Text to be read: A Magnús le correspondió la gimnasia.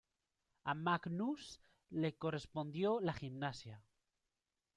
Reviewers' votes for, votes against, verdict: 1, 2, rejected